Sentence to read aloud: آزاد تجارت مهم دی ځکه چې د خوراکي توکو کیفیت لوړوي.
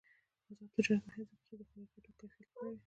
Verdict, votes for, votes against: accepted, 2, 1